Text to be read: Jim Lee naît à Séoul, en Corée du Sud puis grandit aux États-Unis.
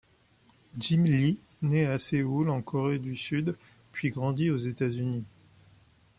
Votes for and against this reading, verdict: 2, 0, accepted